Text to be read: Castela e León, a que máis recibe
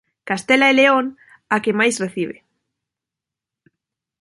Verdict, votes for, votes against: accepted, 2, 0